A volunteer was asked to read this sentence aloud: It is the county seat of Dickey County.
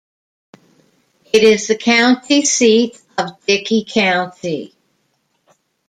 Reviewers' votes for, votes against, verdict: 2, 0, accepted